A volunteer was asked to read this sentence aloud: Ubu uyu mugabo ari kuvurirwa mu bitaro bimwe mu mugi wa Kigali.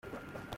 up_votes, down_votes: 0, 2